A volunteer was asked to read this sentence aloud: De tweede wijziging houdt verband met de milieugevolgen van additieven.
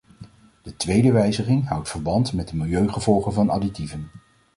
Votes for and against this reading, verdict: 2, 0, accepted